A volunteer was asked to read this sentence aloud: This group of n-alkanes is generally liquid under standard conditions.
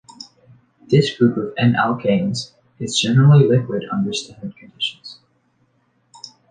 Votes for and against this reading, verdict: 2, 0, accepted